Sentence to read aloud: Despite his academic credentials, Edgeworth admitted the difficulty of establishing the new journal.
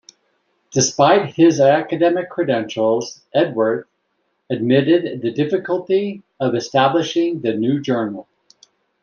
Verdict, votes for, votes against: rejected, 0, 2